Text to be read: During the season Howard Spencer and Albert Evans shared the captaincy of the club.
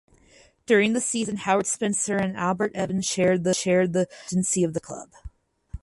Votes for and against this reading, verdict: 0, 2, rejected